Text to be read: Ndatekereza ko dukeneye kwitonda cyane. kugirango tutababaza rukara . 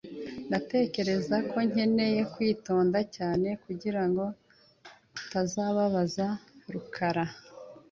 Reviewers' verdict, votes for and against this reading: rejected, 0, 2